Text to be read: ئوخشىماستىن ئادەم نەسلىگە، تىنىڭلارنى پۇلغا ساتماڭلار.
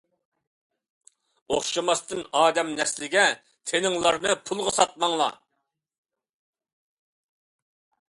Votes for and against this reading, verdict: 2, 0, accepted